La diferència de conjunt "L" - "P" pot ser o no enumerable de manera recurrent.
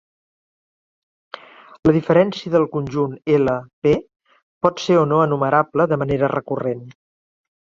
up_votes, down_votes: 1, 2